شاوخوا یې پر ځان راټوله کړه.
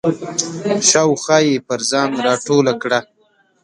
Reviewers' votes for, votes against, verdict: 2, 0, accepted